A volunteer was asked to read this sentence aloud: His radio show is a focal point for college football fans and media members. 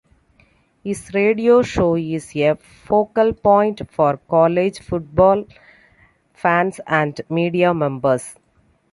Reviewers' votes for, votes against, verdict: 2, 1, accepted